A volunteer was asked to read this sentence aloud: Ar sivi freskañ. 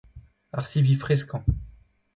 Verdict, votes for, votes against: accepted, 2, 0